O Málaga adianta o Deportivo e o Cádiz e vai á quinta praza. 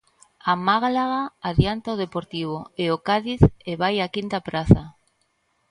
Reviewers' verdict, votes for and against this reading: rejected, 0, 2